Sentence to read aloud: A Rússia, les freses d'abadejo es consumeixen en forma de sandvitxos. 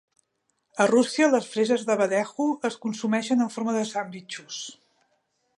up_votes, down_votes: 2, 0